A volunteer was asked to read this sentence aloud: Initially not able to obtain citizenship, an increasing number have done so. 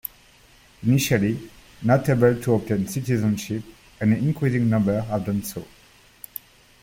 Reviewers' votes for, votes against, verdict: 2, 1, accepted